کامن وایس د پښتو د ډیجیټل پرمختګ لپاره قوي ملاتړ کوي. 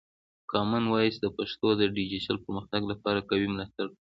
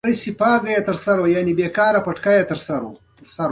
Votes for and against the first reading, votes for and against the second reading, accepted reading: 1, 2, 3, 1, second